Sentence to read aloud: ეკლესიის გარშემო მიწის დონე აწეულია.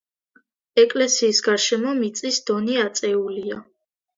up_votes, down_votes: 2, 0